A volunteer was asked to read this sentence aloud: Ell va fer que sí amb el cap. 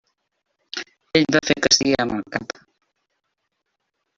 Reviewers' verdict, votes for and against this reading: rejected, 1, 2